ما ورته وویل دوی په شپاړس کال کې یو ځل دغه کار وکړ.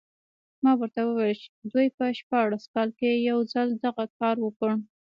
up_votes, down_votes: 2, 0